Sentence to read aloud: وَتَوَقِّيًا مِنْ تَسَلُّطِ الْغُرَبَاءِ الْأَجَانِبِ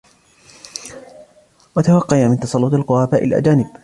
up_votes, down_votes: 1, 2